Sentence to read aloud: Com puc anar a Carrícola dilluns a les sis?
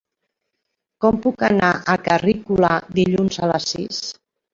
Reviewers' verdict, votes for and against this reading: rejected, 1, 2